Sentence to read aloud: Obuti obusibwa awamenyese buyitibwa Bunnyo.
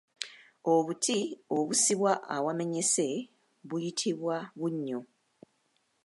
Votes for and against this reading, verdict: 1, 2, rejected